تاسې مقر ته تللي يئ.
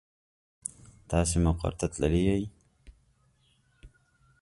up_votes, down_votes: 2, 0